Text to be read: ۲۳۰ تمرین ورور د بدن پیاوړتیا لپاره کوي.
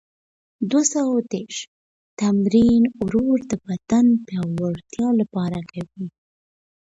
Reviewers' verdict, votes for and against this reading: rejected, 0, 2